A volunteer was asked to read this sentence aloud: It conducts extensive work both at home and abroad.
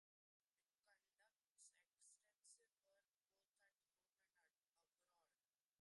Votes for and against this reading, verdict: 0, 2, rejected